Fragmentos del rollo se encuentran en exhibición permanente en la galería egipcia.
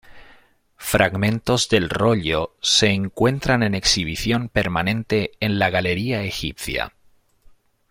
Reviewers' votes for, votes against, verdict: 2, 0, accepted